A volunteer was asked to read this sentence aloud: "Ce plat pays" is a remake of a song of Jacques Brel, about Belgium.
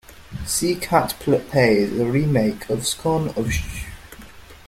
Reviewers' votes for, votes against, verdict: 0, 2, rejected